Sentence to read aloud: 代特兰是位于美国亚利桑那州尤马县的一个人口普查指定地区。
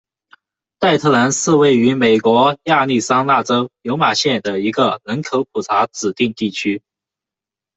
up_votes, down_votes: 2, 1